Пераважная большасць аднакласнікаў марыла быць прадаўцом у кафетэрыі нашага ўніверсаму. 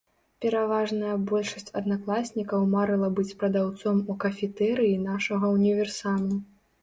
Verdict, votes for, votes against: accepted, 2, 0